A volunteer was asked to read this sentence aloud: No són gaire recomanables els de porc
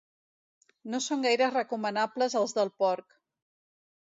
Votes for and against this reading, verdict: 1, 2, rejected